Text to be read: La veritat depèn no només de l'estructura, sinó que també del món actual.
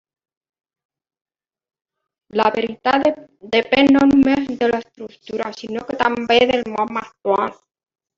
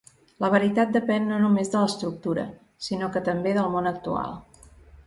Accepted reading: second